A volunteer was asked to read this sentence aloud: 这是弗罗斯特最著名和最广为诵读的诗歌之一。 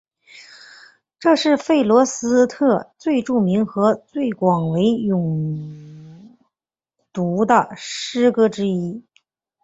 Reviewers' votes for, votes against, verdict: 5, 2, accepted